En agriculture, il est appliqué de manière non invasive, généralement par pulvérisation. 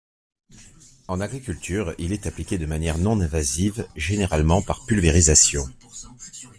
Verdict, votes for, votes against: accepted, 2, 0